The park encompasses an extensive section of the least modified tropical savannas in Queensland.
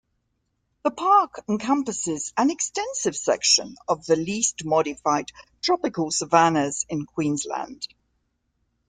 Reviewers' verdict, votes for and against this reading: accepted, 2, 0